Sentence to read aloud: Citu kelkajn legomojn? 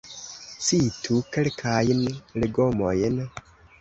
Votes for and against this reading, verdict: 2, 1, accepted